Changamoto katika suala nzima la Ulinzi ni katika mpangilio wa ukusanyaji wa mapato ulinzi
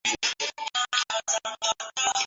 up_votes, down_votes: 0, 2